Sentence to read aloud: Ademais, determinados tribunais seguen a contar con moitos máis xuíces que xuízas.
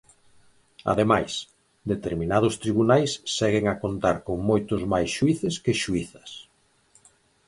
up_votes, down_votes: 4, 0